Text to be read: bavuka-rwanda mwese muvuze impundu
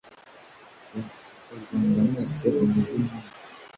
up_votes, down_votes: 1, 2